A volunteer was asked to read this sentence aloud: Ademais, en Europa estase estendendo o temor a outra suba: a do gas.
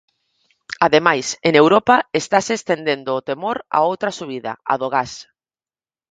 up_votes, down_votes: 0, 4